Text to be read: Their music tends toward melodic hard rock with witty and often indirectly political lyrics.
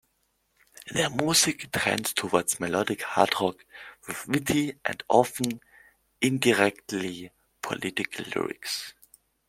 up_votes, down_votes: 0, 2